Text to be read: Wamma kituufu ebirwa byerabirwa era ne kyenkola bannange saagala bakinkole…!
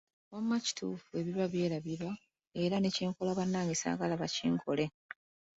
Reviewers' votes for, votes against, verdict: 1, 2, rejected